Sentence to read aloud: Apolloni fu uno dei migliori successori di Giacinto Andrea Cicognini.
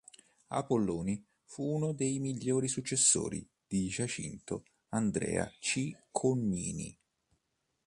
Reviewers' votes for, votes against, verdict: 2, 0, accepted